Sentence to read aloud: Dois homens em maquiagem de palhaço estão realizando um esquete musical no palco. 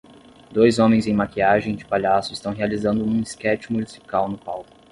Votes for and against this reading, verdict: 10, 0, accepted